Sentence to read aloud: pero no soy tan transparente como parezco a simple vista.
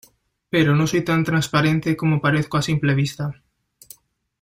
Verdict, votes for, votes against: accepted, 2, 0